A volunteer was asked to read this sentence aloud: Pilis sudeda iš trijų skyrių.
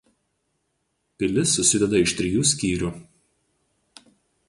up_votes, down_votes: 0, 2